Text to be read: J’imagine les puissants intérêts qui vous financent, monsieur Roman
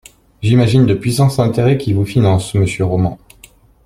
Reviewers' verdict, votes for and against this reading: rejected, 0, 2